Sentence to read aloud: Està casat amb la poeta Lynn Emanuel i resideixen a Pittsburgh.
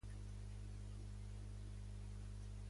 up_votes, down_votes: 0, 2